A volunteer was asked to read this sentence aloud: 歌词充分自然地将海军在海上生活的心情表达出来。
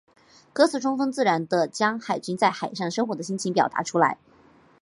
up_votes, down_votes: 3, 0